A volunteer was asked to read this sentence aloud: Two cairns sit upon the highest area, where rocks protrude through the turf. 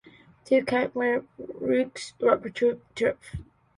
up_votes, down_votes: 0, 2